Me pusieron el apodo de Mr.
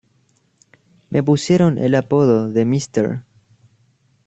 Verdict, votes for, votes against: rejected, 1, 2